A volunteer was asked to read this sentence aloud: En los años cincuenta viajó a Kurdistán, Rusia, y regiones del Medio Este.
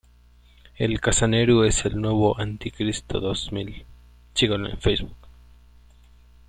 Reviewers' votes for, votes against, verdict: 0, 2, rejected